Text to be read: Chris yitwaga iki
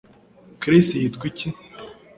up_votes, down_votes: 1, 2